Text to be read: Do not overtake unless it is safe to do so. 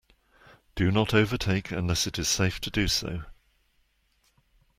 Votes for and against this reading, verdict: 2, 0, accepted